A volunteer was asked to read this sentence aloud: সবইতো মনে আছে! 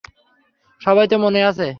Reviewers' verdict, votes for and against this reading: rejected, 0, 3